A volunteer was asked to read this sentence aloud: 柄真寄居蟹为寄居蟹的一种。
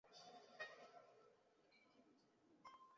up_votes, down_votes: 0, 3